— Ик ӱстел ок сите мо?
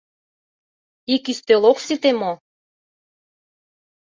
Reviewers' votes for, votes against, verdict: 2, 0, accepted